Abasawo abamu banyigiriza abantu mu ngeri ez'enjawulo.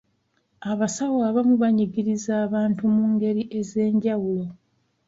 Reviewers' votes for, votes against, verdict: 2, 0, accepted